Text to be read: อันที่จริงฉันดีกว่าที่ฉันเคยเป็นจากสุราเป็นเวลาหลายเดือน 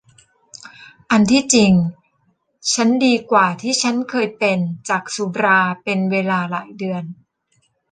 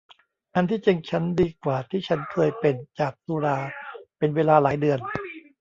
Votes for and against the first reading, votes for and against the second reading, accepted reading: 2, 0, 1, 2, first